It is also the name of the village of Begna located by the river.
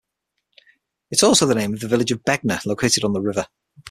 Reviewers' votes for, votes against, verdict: 3, 6, rejected